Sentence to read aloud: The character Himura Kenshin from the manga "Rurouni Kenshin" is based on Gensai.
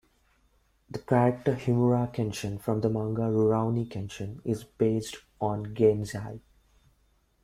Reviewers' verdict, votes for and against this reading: rejected, 0, 2